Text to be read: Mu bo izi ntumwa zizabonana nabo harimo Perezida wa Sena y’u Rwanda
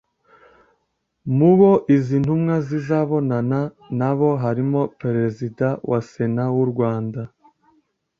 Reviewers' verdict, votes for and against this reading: rejected, 0, 2